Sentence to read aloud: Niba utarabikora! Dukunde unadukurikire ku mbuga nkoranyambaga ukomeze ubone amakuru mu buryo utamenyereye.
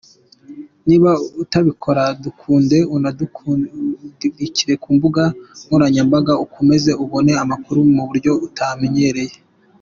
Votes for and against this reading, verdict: 1, 3, rejected